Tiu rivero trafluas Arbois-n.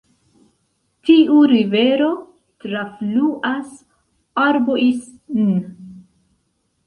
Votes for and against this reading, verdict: 1, 2, rejected